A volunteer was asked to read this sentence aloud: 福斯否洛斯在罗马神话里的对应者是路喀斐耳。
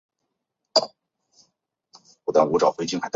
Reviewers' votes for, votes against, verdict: 0, 2, rejected